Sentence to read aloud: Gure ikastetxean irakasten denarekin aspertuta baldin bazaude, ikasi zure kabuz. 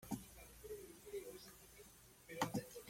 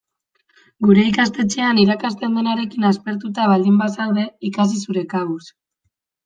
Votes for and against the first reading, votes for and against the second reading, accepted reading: 0, 2, 2, 1, second